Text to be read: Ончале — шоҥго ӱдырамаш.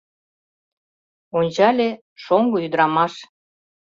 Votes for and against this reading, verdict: 2, 0, accepted